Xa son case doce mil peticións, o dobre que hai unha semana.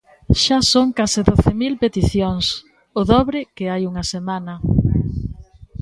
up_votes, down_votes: 3, 0